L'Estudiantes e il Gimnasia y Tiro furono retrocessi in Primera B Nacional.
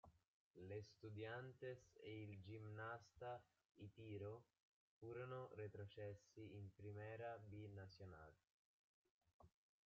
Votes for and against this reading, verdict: 1, 2, rejected